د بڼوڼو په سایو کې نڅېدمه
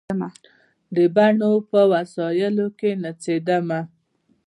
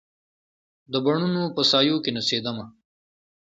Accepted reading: second